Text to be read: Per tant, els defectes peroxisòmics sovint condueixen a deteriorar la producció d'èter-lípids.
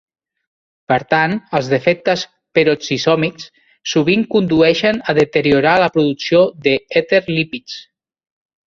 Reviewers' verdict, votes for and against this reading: rejected, 0, 2